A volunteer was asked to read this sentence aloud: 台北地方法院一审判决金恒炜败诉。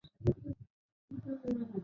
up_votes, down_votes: 3, 4